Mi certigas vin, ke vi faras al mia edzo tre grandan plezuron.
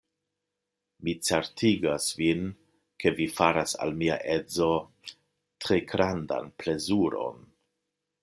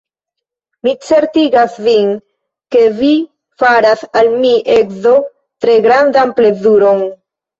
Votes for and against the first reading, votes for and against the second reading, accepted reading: 2, 1, 0, 2, first